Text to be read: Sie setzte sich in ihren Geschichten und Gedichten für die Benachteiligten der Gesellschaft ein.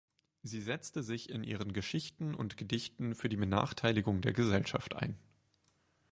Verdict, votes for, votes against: rejected, 2, 4